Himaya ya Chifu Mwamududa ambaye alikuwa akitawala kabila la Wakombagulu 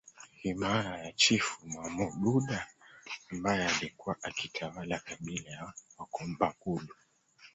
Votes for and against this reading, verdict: 0, 2, rejected